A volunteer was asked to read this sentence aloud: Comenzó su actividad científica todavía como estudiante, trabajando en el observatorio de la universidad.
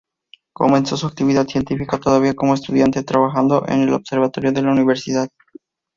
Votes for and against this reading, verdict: 2, 0, accepted